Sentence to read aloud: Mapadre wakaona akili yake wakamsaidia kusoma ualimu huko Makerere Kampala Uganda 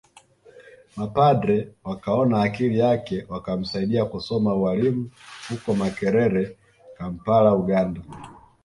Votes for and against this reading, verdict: 2, 0, accepted